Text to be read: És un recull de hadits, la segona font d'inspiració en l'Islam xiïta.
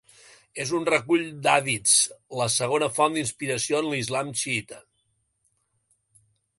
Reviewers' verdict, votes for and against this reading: rejected, 1, 2